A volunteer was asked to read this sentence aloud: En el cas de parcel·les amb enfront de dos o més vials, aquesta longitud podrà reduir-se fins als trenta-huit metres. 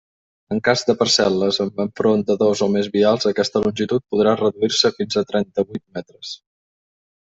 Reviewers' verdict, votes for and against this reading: rejected, 1, 2